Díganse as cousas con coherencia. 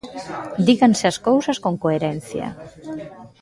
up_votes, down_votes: 0, 2